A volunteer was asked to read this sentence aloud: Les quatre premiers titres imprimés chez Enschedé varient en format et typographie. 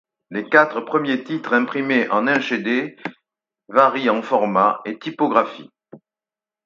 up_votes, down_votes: 0, 4